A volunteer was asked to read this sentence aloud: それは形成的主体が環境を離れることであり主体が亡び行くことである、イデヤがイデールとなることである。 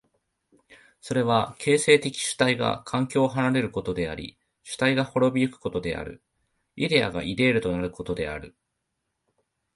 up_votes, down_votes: 7, 0